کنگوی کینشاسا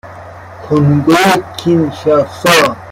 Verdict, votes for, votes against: rejected, 1, 2